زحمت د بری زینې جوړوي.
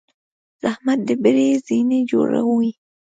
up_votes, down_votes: 2, 0